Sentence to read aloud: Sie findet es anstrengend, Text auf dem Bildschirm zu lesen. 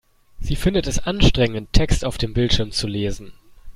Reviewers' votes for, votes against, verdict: 2, 0, accepted